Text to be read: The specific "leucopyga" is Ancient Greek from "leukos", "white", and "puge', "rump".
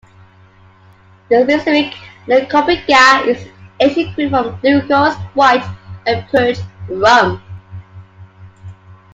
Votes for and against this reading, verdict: 1, 2, rejected